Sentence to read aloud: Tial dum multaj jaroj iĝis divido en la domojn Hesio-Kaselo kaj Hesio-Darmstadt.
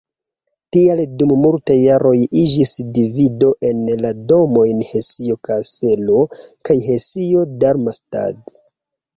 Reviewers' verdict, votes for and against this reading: accepted, 2, 1